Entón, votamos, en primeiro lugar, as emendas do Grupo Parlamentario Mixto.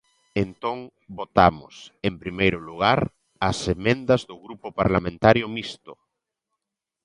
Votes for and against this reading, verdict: 2, 0, accepted